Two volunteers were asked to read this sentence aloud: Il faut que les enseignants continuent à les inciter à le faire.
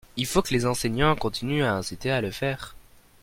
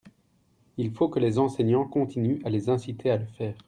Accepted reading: second